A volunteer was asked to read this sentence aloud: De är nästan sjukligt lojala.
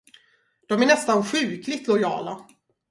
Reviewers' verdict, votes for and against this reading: accepted, 2, 0